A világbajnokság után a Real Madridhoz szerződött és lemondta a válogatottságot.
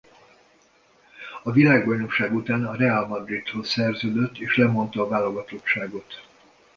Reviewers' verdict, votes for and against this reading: accepted, 2, 0